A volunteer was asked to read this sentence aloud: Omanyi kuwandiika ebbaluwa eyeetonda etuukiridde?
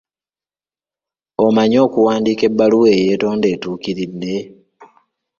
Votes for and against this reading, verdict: 1, 2, rejected